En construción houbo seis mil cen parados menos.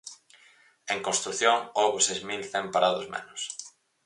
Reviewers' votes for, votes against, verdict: 4, 0, accepted